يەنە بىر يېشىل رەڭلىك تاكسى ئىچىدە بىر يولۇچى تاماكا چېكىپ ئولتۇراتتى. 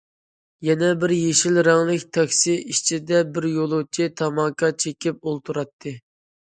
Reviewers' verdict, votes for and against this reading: accepted, 2, 0